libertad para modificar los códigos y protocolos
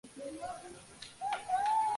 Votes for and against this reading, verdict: 0, 4, rejected